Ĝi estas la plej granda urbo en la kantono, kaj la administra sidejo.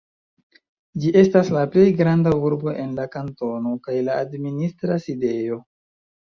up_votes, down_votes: 1, 2